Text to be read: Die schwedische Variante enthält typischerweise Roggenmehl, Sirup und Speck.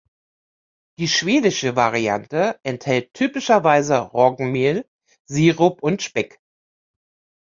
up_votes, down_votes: 2, 0